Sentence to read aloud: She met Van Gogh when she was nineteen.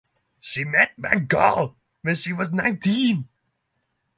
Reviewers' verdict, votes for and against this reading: accepted, 6, 0